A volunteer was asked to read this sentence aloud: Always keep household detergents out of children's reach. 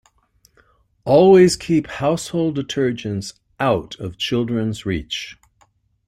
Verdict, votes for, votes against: accepted, 2, 0